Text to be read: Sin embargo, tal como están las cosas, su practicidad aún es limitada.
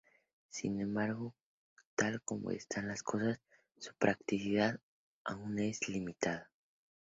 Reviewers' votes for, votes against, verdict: 2, 0, accepted